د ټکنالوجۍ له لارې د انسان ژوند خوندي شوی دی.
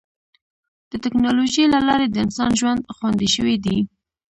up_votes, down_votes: 1, 2